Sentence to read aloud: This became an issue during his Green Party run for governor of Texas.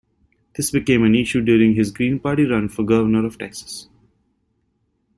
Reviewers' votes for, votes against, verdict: 3, 1, accepted